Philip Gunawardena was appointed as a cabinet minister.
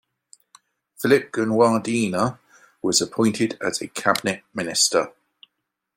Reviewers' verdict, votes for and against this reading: accepted, 2, 0